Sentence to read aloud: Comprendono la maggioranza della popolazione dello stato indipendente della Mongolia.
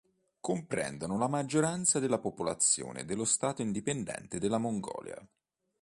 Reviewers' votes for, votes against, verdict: 3, 0, accepted